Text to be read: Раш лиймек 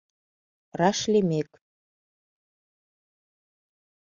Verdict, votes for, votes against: accepted, 2, 0